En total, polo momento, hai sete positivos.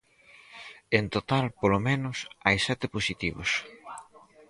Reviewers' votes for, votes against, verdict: 0, 4, rejected